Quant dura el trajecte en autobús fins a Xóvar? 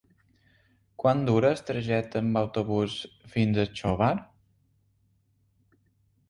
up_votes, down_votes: 2, 0